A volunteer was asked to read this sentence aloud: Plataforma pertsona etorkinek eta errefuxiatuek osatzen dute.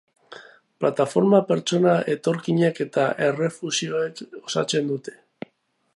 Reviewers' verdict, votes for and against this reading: rejected, 0, 2